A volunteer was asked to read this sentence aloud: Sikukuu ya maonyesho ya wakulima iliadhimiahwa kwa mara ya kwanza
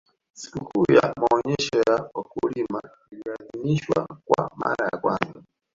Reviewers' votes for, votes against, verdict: 0, 4, rejected